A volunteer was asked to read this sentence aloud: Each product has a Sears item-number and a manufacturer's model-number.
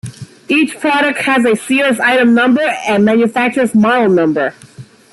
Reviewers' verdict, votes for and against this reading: accepted, 2, 1